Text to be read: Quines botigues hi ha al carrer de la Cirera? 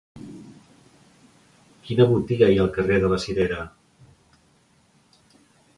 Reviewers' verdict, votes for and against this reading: rejected, 0, 2